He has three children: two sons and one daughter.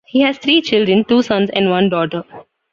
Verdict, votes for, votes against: rejected, 1, 2